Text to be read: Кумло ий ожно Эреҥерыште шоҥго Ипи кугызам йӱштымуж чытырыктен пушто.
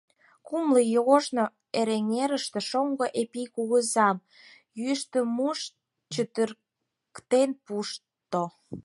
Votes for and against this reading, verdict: 4, 2, accepted